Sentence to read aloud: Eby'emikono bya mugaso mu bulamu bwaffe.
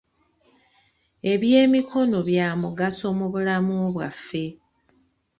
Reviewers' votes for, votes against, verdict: 2, 0, accepted